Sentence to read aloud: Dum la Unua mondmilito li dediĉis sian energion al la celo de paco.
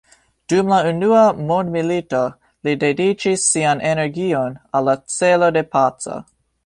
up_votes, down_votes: 2, 0